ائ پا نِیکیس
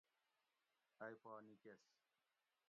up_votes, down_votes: 1, 2